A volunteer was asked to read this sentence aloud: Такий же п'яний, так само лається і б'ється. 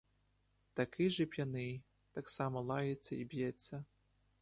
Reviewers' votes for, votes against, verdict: 1, 2, rejected